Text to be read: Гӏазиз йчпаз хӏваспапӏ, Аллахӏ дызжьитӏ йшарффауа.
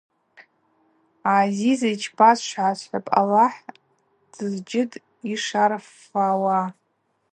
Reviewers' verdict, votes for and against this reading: rejected, 0, 4